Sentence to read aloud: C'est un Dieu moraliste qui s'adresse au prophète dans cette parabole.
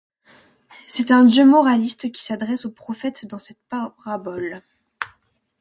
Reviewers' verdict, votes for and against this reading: accepted, 2, 0